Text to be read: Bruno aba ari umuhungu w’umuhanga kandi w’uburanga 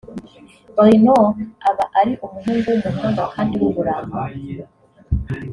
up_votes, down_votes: 2, 0